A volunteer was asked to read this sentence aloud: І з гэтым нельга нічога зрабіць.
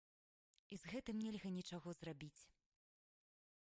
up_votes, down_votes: 1, 3